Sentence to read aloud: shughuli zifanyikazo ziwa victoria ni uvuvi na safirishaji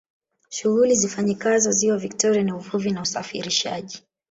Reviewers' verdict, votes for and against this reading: rejected, 1, 2